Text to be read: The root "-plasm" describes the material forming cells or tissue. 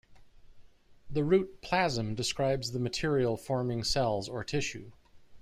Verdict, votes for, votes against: accepted, 2, 0